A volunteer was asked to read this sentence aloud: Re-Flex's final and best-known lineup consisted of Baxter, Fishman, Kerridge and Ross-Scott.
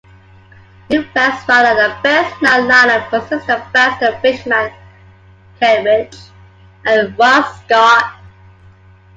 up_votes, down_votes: 1, 2